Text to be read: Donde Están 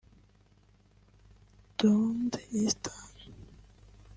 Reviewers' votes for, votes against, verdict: 1, 2, rejected